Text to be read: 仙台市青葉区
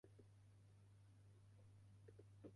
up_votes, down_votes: 1, 2